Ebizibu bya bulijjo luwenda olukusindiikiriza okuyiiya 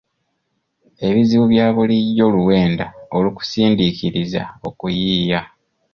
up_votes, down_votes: 2, 0